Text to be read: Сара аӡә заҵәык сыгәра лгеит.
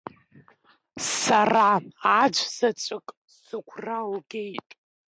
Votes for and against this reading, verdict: 1, 2, rejected